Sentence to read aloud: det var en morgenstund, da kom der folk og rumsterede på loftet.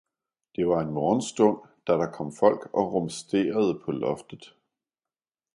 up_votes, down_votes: 1, 2